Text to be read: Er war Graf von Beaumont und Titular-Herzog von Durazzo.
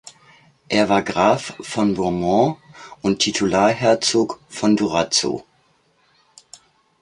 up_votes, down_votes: 2, 0